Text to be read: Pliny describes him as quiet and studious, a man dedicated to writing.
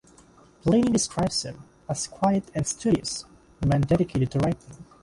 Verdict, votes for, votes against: rejected, 3, 6